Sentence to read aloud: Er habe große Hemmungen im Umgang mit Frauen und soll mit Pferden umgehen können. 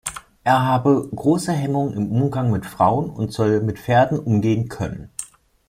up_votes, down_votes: 2, 0